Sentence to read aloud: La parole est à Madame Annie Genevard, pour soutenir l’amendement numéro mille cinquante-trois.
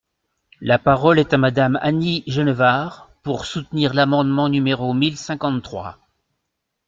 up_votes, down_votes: 2, 0